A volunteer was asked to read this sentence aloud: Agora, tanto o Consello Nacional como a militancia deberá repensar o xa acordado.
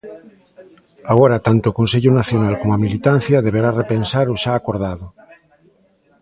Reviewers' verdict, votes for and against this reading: rejected, 1, 2